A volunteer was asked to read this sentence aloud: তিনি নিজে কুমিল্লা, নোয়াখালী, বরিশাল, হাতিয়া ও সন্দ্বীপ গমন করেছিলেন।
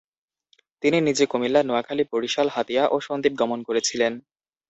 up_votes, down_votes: 2, 0